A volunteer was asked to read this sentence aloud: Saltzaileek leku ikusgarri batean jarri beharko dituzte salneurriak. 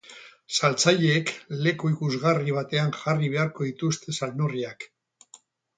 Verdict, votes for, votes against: accepted, 4, 0